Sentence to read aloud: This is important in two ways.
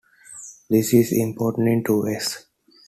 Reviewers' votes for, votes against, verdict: 2, 0, accepted